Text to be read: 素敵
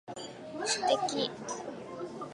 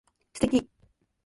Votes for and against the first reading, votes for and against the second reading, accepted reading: 0, 2, 2, 0, second